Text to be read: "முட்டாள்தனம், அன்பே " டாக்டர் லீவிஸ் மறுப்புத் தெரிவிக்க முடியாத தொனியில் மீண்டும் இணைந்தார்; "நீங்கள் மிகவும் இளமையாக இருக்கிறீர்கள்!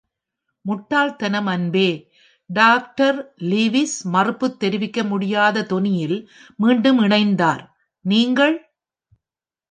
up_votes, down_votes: 0, 2